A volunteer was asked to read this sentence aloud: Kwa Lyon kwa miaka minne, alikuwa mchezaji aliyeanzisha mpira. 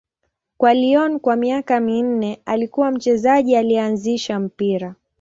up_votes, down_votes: 0, 2